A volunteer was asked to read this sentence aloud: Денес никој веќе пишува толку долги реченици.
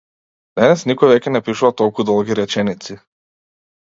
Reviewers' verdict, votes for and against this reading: rejected, 0, 2